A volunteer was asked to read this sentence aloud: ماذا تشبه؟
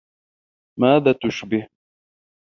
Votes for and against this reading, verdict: 2, 0, accepted